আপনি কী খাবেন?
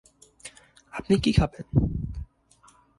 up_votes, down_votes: 2, 0